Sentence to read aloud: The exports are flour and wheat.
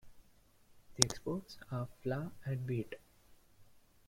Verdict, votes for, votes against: accepted, 2, 0